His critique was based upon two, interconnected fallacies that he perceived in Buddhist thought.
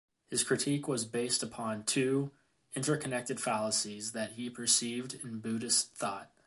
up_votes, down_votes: 2, 0